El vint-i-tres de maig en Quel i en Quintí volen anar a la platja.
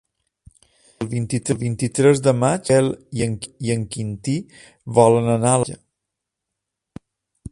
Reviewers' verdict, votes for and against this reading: rejected, 0, 2